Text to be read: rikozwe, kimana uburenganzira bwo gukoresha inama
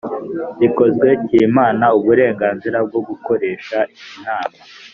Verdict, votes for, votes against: accepted, 2, 0